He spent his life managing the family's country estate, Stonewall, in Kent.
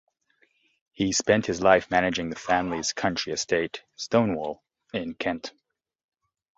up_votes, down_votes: 2, 0